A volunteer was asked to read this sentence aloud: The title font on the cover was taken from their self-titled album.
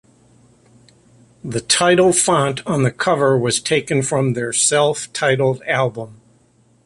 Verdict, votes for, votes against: accepted, 2, 0